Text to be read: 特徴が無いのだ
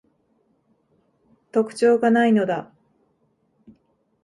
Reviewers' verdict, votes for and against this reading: accepted, 2, 0